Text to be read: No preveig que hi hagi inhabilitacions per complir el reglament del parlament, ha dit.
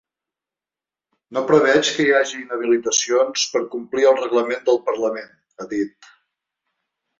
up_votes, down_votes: 4, 0